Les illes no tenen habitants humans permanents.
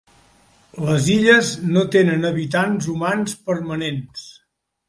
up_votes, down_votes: 2, 0